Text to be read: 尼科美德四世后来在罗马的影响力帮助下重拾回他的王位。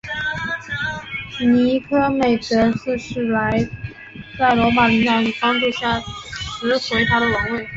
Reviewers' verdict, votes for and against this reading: rejected, 0, 2